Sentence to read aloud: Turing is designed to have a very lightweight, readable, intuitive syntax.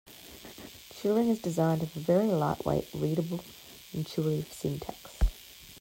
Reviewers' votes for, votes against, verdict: 0, 2, rejected